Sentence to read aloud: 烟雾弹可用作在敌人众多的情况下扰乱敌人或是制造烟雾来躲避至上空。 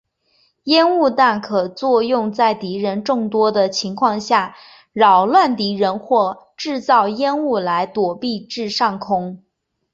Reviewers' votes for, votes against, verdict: 3, 1, accepted